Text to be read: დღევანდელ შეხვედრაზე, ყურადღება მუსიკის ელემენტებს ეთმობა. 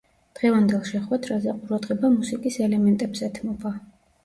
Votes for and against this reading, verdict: 2, 0, accepted